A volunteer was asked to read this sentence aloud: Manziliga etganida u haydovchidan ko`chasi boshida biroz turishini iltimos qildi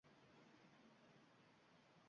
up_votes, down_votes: 0, 2